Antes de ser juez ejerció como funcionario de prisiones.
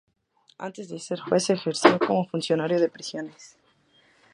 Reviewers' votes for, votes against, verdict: 0, 2, rejected